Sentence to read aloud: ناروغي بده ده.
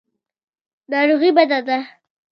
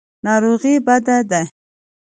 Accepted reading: second